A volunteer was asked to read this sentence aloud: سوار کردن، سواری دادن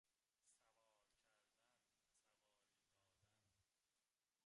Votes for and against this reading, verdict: 0, 2, rejected